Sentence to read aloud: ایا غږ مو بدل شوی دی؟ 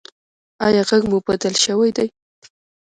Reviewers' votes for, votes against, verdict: 2, 0, accepted